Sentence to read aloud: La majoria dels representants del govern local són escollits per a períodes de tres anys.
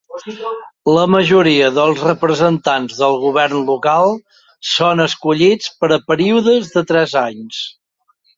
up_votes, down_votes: 2, 0